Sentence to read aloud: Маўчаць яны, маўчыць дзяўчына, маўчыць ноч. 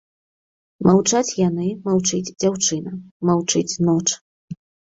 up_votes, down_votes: 2, 0